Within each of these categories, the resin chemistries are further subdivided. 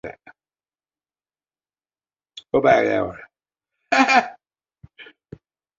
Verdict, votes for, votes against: rejected, 0, 2